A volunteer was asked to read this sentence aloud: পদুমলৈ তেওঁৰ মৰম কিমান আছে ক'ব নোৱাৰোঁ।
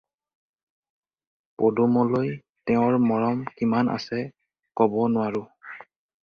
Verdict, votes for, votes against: accepted, 4, 0